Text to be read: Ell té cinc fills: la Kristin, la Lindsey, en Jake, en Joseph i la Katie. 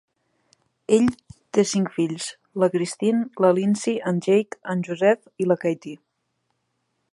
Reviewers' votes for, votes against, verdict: 1, 2, rejected